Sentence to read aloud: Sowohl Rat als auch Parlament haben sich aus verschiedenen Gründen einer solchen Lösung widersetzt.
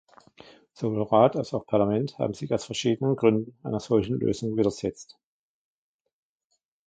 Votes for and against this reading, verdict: 1, 2, rejected